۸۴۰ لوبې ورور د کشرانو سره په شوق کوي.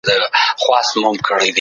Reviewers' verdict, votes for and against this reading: rejected, 0, 2